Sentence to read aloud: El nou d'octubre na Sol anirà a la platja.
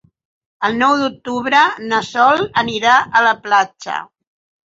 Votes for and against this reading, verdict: 8, 0, accepted